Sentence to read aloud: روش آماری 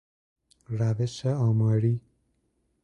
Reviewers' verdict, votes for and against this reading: accepted, 2, 0